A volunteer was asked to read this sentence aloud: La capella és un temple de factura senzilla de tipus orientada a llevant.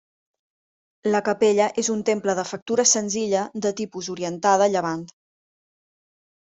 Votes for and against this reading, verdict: 3, 0, accepted